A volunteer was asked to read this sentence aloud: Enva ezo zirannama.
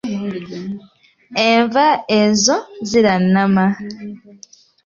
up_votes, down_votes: 2, 0